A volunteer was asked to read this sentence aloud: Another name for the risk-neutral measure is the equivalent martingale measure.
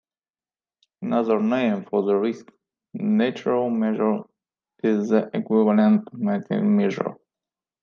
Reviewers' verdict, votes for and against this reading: rejected, 0, 2